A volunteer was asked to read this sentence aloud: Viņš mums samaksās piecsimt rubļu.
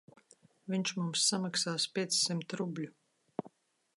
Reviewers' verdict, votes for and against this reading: accepted, 2, 0